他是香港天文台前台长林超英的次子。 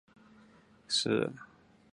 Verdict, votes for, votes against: rejected, 0, 2